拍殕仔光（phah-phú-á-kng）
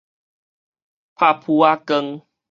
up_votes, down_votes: 4, 0